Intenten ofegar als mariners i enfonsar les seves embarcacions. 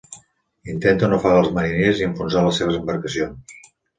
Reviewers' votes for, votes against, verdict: 2, 0, accepted